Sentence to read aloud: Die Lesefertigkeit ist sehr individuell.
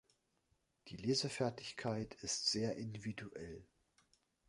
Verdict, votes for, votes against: accepted, 2, 0